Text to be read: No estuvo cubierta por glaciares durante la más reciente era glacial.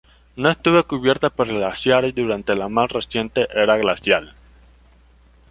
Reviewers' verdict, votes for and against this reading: rejected, 1, 2